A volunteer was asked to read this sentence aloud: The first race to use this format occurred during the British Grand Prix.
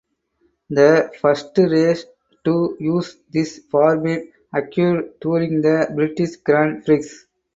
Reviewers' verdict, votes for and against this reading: rejected, 2, 6